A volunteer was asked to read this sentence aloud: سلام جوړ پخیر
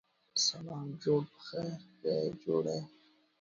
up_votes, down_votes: 1, 2